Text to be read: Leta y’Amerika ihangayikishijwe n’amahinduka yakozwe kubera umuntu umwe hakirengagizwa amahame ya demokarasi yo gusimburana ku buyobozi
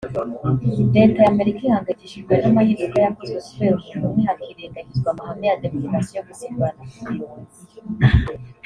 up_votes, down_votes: 3, 0